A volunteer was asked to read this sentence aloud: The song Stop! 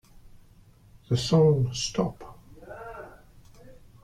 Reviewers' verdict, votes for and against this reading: rejected, 0, 2